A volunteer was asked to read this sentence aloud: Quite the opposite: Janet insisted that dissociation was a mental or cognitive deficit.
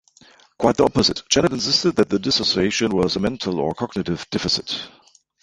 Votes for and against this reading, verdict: 0, 2, rejected